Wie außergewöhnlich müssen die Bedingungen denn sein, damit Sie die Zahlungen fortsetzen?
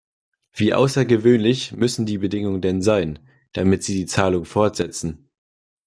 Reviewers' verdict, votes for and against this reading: rejected, 1, 2